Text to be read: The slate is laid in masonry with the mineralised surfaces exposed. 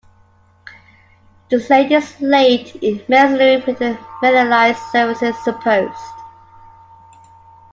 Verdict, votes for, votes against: rejected, 0, 2